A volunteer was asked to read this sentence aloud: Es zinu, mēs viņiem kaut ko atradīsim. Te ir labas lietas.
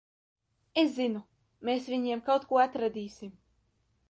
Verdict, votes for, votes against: rejected, 0, 2